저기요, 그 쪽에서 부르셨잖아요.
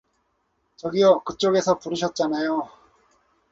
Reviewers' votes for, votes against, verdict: 4, 0, accepted